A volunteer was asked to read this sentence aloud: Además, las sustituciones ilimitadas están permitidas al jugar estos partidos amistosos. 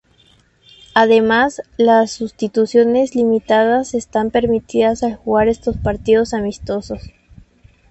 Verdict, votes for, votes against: rejected, 0, 2